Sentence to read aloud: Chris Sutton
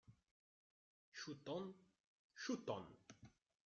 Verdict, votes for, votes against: rejected, 0, 2